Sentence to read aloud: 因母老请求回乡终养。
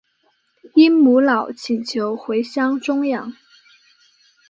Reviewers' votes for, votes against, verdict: 3, 0, accepted